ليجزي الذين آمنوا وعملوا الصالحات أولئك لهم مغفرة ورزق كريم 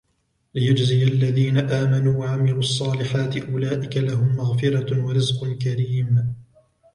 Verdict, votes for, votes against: accepted, 2, 0